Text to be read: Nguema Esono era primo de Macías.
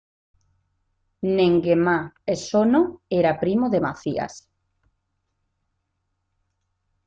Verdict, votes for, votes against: accepted, 2, 0